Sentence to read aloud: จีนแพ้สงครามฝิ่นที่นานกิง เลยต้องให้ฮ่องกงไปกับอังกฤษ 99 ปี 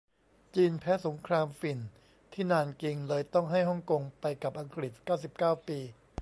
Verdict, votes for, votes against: rejected, 0, 2